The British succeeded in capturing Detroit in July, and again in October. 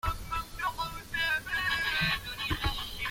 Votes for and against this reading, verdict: 0, 2, rejected